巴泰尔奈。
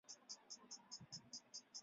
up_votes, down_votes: 0, 4